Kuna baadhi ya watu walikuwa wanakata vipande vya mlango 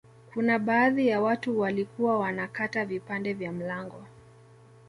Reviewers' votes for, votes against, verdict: 2, 0, accepted